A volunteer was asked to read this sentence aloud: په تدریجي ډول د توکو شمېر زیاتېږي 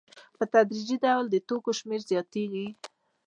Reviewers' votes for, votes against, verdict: 2, 0, accepted